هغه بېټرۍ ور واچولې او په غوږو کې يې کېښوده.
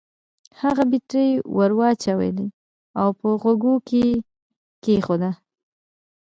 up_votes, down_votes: 1, 2